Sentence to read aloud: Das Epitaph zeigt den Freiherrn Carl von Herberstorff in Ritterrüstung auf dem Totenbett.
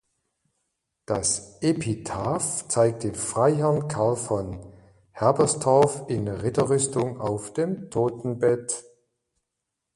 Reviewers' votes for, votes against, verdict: 2, 1, accepted